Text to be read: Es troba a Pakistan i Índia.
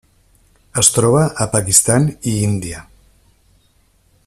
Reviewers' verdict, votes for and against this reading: accepted, 3, 0